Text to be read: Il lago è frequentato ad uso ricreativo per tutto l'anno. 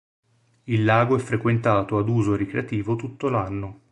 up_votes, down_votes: 0, 3